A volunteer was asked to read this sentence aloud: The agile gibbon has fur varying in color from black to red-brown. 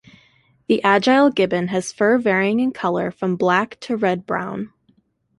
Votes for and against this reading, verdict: 2, 0, accepted